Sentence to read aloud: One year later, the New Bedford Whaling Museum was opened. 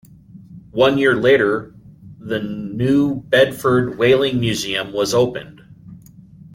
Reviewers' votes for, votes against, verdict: 2, 0, accepted